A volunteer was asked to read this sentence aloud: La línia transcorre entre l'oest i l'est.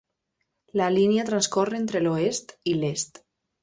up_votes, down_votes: 3, 0